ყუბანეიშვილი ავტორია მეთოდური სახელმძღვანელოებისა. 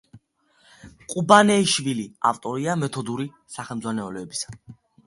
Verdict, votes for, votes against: accepted, 2, 1